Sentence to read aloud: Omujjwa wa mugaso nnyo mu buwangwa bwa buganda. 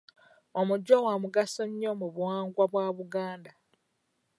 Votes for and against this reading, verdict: 1, 2, rejected